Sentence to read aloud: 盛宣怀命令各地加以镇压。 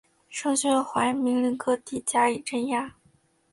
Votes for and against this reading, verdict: 2, 0, accepted